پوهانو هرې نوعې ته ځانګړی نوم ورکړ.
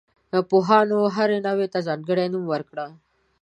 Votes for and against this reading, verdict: 2, 0, accepted